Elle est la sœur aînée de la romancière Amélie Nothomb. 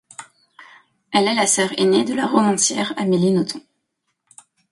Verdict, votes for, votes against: accepted, 2, 0